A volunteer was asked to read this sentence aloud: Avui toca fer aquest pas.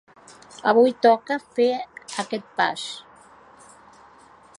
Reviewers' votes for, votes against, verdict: 4, 0, accepted